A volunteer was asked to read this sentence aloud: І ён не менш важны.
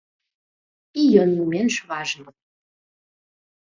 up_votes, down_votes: 0, 2